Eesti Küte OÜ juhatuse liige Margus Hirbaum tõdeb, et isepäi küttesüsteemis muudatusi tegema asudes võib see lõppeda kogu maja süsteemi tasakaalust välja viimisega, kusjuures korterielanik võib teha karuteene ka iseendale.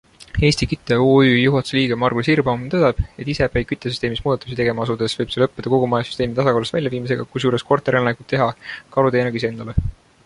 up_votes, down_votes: 2, 1